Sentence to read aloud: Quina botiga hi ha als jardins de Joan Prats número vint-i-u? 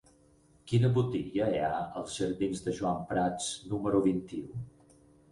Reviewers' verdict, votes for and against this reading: rejected, 0, 4